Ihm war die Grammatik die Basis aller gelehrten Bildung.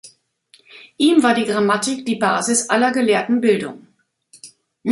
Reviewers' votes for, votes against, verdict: 1, 3, rejected